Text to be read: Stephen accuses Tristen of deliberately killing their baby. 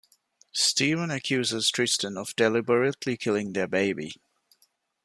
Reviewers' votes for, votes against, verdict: 2, 0, accepted